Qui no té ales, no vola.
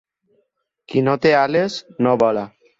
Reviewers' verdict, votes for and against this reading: accepted, 4, 0